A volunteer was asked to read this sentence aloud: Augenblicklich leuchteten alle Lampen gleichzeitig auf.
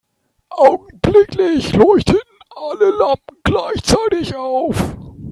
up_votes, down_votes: 0, 2